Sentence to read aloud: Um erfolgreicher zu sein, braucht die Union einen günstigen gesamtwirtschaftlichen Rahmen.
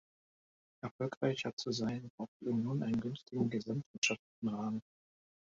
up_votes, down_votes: 0, 2